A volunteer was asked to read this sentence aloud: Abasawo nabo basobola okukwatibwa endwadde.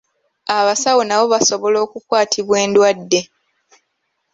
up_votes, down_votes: 2, 0